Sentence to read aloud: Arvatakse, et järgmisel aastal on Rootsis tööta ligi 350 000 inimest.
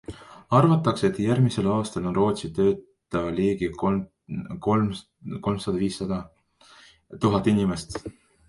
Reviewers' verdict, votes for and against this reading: rejected, 0, 2